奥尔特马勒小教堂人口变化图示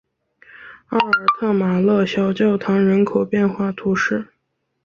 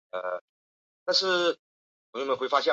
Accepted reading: first